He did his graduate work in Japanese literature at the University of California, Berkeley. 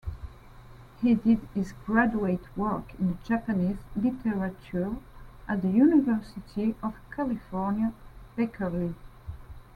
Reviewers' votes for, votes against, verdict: 0, 2, rejected